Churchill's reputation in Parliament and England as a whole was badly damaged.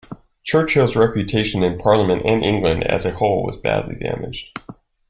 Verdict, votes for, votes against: accepted, 2, 0